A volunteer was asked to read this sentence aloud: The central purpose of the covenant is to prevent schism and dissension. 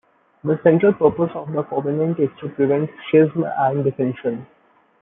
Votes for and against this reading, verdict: 0, 2, rejected